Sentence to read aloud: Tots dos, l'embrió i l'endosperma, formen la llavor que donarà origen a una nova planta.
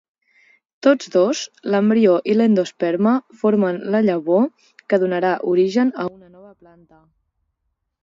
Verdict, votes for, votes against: rejected, 0, 4